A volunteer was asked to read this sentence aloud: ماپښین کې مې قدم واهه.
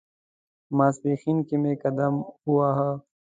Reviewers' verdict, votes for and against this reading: accepted, 2, 0